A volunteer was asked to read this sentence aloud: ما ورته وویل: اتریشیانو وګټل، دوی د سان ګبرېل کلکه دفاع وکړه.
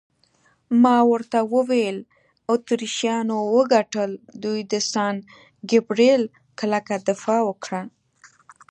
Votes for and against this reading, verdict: 2, 0, accepted